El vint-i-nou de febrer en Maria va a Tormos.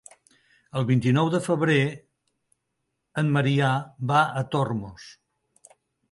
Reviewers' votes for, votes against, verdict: 0, 2, rejected